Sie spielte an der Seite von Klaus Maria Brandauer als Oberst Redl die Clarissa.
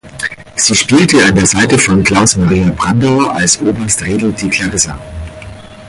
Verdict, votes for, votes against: accepted, 4, 2